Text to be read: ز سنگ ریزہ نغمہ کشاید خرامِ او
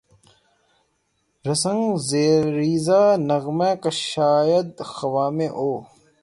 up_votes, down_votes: 6, 0